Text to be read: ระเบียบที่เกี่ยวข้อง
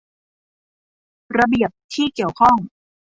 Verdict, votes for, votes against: accepted, 2, 0